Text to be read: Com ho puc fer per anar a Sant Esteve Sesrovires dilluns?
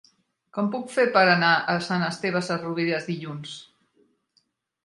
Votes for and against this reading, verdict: 0, 3, rejected